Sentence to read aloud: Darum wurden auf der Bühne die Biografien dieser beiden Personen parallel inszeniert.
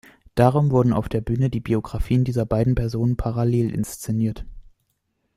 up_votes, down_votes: 2, 0